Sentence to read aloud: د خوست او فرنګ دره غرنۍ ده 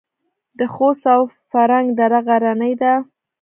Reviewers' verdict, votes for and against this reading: accepted, 2, 0